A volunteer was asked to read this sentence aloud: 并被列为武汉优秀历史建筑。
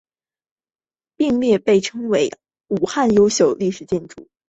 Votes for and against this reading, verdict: 3, 0, accepted